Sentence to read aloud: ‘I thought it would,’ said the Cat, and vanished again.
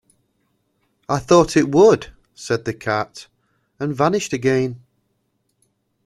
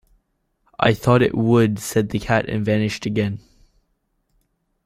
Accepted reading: first